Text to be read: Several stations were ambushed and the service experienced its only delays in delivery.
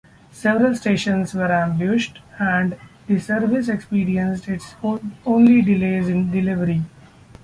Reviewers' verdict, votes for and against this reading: rejected, 1, 2